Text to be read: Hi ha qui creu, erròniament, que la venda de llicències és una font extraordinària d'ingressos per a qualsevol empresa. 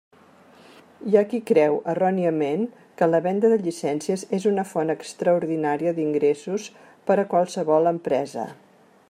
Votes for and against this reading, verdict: 3, 0, accepted